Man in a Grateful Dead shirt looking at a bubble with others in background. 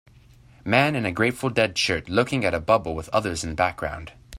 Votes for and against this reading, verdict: 2, 0, accepted